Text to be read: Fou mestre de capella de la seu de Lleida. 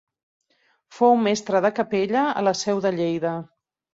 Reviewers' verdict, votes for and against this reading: accepted, 2, 1